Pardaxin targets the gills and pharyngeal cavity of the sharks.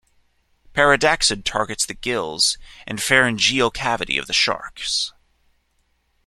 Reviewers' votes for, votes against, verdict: 2, 0, accepted